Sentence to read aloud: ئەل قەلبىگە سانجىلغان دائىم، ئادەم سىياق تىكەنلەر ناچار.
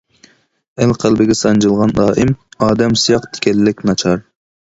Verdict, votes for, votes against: rejected, 0, 2